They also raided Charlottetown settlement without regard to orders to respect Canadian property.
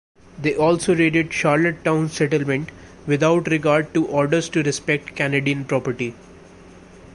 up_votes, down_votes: 2, 1